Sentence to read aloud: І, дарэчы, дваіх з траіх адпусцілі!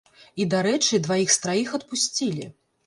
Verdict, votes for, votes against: accepted, 2, 0